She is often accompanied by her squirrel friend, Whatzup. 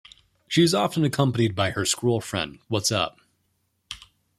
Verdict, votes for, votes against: accepted, 2, 0